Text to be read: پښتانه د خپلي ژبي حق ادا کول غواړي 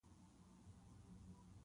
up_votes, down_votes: 1, 2